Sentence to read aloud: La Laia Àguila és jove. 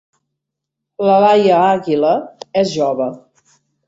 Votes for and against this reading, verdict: 3, 0, accepted